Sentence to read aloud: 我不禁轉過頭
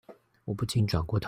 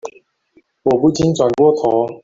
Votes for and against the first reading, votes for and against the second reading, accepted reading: 1, 2, 2, 1, second